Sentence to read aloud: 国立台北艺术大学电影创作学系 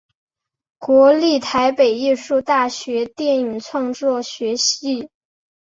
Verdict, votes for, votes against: accepted, 4, 0